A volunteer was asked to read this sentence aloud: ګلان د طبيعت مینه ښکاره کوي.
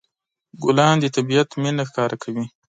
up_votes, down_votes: 2, 0